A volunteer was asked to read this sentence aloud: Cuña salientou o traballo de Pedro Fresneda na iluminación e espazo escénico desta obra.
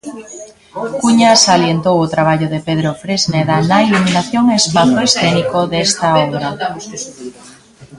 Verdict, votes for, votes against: rejected, 1, 2